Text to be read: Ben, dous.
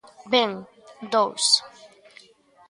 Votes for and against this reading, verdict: 2, 0, accepted